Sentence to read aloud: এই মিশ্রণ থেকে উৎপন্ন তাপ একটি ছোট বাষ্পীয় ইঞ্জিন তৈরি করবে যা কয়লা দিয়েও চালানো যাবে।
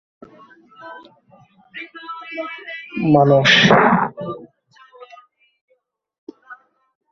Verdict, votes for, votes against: rejected, 0, 2